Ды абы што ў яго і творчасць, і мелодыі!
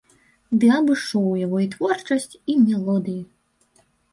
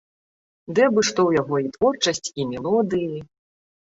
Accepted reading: second